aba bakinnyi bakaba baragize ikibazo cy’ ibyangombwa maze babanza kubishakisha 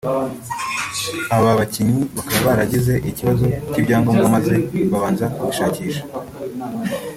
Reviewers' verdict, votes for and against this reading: rejected, 0, 2